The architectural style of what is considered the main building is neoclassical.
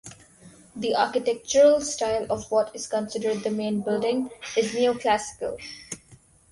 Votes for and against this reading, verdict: 0, 2, rejected